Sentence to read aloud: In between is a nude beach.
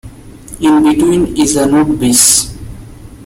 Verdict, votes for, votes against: accepted, 2, 1